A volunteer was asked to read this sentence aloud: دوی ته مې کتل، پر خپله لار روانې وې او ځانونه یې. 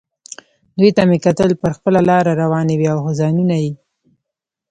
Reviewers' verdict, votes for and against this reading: rejected, 1, 2